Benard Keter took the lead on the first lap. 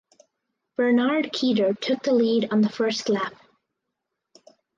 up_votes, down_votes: 4, 0